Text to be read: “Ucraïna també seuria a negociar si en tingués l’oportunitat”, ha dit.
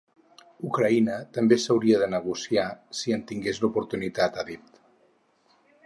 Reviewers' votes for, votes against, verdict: 2, 4, rejected